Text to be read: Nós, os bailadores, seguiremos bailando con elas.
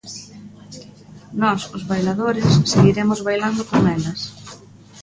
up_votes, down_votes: 2, 0